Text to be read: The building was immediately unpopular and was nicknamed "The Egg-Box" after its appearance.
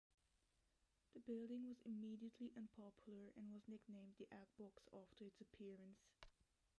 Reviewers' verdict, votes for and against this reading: rejected, 0, 2